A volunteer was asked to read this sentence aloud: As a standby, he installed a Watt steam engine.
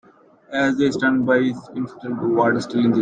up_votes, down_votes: 0, 2